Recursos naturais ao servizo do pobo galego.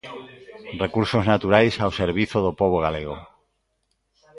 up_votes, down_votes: 2, 1